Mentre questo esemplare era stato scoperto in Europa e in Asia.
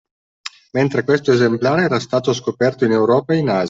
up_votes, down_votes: 1, 2